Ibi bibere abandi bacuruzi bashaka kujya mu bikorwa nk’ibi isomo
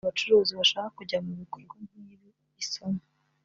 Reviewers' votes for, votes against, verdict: 1, 2, rejected